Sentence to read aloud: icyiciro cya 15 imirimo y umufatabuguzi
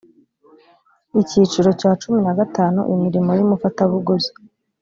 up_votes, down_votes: 0, 2